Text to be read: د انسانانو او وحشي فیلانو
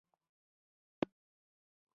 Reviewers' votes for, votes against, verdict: 1, 2, rejected